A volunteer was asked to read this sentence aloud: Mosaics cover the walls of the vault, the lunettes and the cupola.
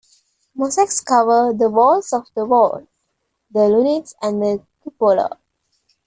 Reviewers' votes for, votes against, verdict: 2, 0, accepted